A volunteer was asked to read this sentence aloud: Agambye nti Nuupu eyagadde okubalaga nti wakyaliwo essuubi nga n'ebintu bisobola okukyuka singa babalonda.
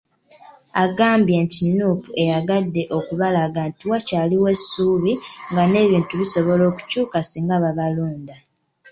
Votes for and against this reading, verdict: 2, 0, accepted